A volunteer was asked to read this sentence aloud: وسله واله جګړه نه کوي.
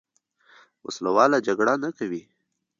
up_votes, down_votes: 2, 0